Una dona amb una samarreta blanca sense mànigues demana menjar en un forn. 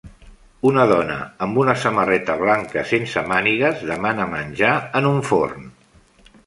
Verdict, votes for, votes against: accepted, 3, 0